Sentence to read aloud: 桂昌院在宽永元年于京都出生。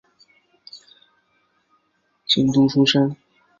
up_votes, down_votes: 1, 2